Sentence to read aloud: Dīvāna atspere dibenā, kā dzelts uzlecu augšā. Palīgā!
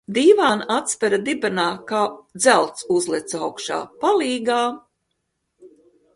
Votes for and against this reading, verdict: 2, 0, accepted